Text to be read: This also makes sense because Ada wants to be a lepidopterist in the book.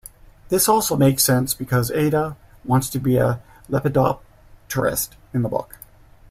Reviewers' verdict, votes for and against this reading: rejected, 1, 2